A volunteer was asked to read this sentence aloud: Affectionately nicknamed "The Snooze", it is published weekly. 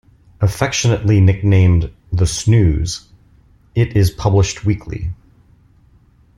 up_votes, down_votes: 2, 0